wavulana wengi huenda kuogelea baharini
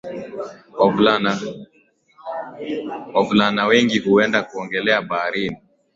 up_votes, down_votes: 7, 3